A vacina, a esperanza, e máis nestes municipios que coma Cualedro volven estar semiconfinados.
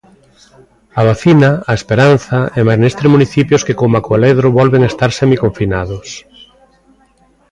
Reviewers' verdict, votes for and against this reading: accepted, 2, 0